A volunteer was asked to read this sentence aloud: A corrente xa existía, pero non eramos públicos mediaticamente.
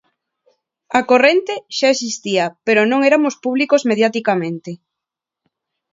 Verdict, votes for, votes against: accepted, 2, 0